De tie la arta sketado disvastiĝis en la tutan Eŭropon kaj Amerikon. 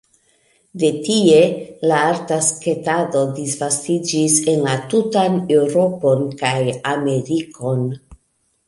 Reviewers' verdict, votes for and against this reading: accepted, 2, 0